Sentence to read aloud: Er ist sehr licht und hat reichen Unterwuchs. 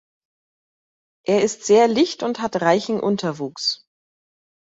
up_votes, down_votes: 2, 0